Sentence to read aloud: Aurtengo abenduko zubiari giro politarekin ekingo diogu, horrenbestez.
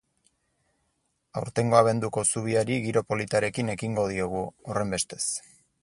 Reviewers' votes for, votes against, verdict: 4, 0, accepted